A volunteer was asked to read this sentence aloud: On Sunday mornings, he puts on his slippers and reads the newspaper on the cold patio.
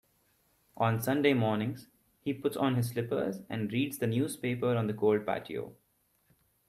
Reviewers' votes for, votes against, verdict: 2, 1, accepted